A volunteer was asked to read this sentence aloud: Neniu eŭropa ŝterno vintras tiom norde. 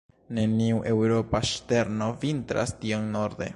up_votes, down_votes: 2, 0